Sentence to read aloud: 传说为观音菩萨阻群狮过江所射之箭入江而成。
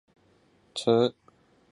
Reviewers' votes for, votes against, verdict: 0, 3, rejected